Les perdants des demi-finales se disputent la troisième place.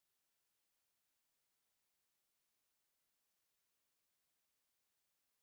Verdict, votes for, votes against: rejected, 0, 2